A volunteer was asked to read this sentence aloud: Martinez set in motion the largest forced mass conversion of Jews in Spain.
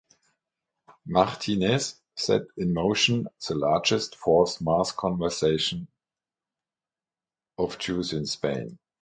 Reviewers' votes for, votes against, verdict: 0, 3, rejected